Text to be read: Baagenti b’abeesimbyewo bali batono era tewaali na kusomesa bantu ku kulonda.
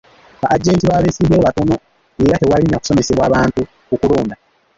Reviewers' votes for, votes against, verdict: 1, 2, rejected